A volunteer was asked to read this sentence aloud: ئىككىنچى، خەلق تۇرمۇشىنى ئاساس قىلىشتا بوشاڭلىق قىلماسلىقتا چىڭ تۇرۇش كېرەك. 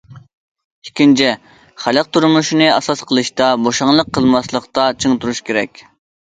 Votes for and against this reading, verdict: 2, 0, accepted